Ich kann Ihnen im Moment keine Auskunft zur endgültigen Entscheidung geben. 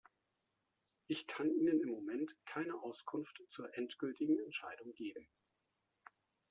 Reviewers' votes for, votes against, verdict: 2, 0, accepted